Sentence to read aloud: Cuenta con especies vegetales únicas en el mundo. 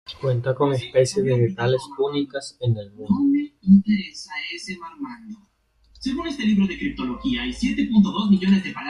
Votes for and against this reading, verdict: 1, 2, rejected